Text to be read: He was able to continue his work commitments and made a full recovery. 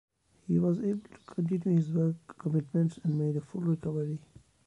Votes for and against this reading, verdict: 2, 0, accepted